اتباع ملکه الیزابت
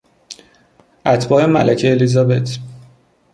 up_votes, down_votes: 2, 0